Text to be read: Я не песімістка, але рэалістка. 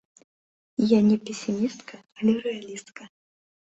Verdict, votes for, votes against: accepted, 2, 1